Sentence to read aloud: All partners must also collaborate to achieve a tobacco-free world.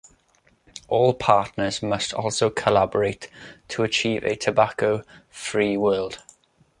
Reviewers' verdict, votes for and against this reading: accepted, 2, 0